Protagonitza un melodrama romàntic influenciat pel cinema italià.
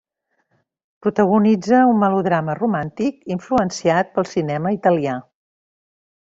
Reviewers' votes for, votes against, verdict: 0, 2, rejected